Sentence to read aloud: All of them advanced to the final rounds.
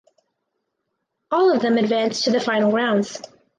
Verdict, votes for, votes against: accepted, 4, 0